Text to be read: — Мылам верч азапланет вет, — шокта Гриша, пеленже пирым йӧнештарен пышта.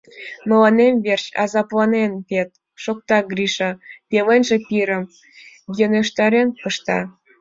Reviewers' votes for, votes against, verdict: 1, 2, rejected